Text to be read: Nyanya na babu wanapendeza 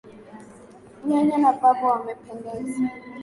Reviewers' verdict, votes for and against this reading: rejected, 0, 3